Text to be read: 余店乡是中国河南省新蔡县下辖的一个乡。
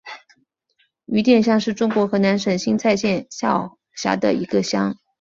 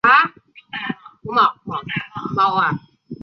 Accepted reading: first